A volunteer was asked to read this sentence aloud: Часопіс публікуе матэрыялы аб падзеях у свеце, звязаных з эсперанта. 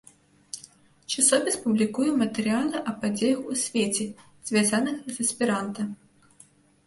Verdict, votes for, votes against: rejected, 1, 2